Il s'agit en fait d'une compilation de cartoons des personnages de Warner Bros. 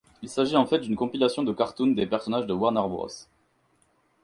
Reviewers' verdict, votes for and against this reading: accepted, 6, 0